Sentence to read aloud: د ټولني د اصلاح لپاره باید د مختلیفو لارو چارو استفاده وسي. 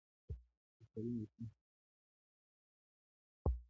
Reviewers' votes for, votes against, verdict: 1, 2, rejected